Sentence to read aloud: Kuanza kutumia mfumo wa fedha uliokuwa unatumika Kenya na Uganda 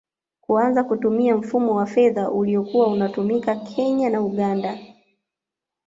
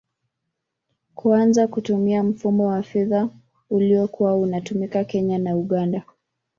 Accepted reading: first